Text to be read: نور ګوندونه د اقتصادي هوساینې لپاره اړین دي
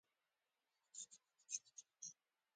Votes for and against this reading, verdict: 0, 2, rejected